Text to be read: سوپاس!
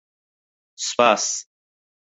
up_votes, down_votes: 4, 0